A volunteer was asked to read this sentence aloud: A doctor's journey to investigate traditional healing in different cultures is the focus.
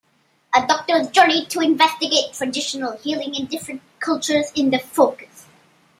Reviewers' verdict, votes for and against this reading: rejected, 0, 2